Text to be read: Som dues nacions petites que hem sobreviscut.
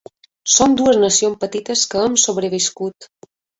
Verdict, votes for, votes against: accepted, 2, 1